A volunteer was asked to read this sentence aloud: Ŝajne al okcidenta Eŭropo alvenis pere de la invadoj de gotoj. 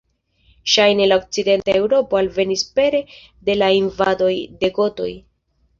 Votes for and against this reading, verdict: 2, 0, accepted